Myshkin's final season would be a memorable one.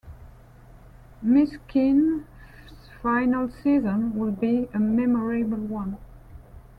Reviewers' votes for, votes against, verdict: 0, 2, rejected